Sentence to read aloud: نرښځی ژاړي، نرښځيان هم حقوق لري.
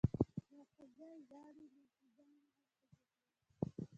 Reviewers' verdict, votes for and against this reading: rejected, 0, 2